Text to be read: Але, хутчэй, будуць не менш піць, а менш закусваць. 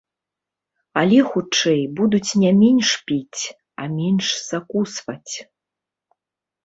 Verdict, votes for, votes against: accepted, 2, 0